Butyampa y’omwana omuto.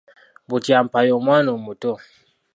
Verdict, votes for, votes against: accepted, 2, 0